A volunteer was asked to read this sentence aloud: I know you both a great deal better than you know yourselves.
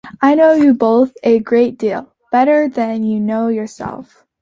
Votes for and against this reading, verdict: 2, 1, accepted